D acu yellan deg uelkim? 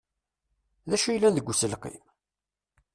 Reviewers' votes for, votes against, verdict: 1, 2, rejected